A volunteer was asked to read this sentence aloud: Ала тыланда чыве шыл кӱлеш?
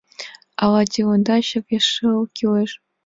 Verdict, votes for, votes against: accepted, 2, 0